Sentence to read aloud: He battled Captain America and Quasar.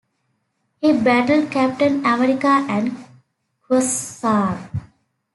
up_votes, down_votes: 2, 1